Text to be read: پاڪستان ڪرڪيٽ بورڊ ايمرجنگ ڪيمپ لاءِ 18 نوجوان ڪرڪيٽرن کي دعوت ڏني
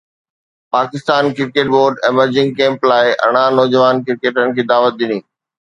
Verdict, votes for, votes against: rejected, 0, 2